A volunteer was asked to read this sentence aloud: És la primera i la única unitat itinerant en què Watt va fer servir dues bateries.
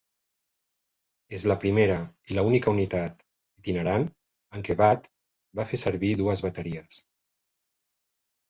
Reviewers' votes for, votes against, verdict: 2, 0, accepted